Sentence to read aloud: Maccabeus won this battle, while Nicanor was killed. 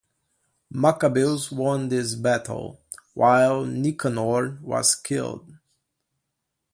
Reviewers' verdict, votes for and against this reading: accepted, 2, 1